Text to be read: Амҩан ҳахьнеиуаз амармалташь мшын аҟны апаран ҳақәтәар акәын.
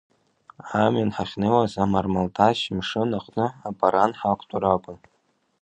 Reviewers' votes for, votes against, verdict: 2, 0, accepted